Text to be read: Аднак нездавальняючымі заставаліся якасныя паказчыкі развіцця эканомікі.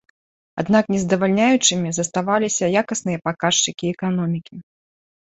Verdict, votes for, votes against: rejected, 1, 2